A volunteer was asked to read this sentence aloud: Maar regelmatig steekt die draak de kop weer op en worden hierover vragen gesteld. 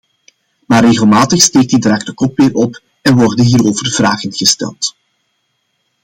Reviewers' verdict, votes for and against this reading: accepted, 2, 0